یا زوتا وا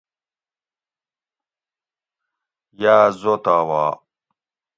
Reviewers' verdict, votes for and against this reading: accepted, 2, 0